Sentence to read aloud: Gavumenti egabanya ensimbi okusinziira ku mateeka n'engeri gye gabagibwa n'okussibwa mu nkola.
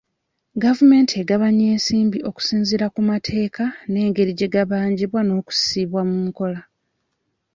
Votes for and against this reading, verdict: 0, 2, rejected